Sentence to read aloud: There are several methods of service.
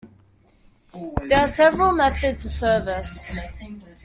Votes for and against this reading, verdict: 2, 0, accepted